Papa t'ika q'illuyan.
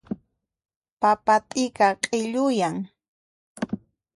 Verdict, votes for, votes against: accepted, 2, 0